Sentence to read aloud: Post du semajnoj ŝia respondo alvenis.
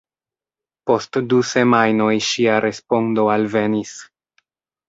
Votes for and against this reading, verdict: 2, 1, accepted